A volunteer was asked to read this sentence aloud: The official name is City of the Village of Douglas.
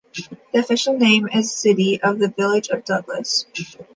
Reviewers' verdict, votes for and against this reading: accepted, 2, 0